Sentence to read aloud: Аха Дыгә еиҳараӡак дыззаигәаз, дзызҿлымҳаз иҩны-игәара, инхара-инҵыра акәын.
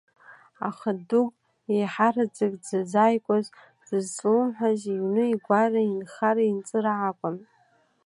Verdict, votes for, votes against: rejected, 1, 2